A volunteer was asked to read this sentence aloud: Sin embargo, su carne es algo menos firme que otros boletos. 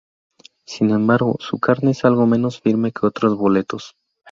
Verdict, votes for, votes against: rejected, 0, 2